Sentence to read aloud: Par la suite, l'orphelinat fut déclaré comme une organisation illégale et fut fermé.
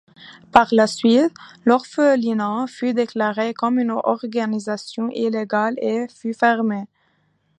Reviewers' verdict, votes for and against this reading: accepted, 2, 0